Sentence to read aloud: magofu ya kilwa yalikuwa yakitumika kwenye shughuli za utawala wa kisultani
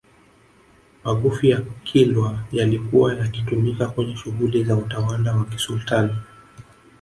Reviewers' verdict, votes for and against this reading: rejected, 1, 2